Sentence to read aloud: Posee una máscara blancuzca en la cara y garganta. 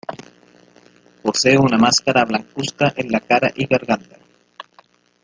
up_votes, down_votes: 1, 2